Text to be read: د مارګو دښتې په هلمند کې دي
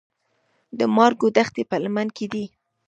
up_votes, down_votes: 1, 2